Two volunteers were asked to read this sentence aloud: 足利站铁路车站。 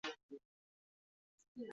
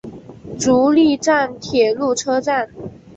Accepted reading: second